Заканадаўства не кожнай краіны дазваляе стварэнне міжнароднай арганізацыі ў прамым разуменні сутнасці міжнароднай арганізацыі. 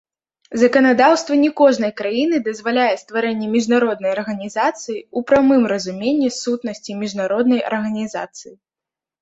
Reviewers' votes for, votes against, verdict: 2, 1, accepted